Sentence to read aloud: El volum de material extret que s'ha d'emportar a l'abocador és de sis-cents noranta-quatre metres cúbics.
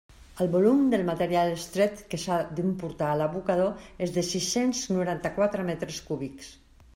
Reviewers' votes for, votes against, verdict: 1, 2, rejected